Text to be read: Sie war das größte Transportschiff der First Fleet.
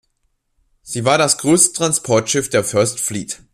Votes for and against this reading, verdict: 2, 0, accepted